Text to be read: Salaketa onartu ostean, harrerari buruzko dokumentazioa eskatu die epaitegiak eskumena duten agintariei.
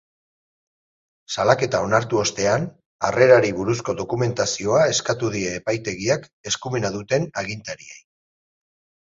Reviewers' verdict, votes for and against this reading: accepted, 2, 0